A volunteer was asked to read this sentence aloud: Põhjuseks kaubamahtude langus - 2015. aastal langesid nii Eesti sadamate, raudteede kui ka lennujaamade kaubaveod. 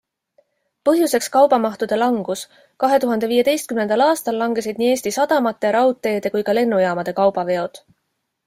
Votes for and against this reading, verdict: 0, 2, rejected